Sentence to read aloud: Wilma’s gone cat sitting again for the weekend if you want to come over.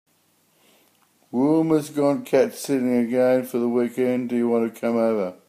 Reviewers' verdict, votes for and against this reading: rejected, 0, 2